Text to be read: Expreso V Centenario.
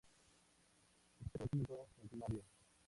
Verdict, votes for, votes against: rejected, 0, 2